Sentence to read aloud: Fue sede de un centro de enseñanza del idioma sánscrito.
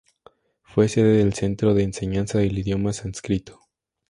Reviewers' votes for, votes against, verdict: 0, 2, rejected